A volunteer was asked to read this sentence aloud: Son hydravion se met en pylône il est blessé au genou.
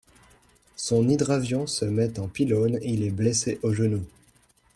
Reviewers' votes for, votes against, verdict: 1, 2, rejected